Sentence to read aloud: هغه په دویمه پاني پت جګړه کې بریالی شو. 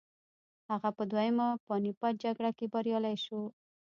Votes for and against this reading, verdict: 2, 0, accepted